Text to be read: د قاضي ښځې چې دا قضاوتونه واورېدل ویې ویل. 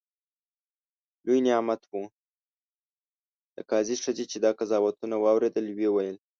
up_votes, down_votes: 0, 2